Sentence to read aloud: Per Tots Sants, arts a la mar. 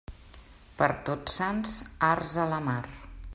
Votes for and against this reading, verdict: 2, 0, accepted